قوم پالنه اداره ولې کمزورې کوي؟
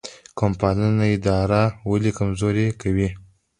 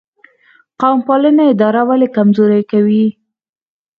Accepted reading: first